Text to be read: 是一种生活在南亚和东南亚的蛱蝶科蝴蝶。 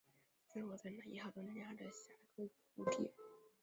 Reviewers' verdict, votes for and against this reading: rejected, 1, 3